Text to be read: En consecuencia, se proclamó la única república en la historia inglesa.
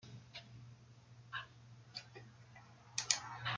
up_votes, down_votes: 0, 2